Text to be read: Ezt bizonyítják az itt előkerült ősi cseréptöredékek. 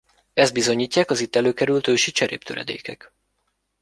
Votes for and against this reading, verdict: 2, 1, accepted